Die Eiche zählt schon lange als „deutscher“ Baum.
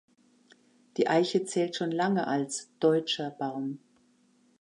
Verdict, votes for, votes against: accepted, 2, 0